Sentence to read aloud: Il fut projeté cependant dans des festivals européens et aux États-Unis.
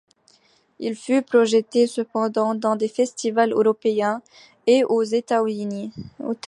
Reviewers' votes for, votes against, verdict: 2, 0, accepted